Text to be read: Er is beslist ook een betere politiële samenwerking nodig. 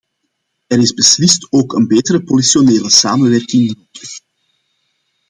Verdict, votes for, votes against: rejected, 0, 3